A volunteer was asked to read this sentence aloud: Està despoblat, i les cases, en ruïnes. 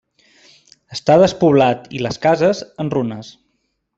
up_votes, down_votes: 1, 2